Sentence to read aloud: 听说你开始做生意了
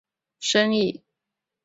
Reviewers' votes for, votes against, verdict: 1, 2, rejected